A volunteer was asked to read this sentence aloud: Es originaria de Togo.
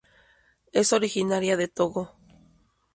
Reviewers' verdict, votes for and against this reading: accepted, 2, 0